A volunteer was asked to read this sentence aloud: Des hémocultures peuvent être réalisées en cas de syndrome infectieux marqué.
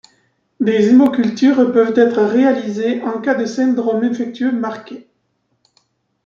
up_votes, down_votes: 1, 2